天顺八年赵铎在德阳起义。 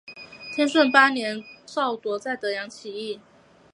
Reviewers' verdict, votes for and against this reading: accepted, 2, 1